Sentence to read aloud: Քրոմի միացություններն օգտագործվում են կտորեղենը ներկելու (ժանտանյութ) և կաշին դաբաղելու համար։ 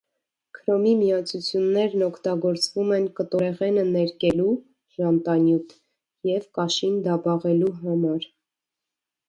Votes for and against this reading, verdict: 0, 2, rejected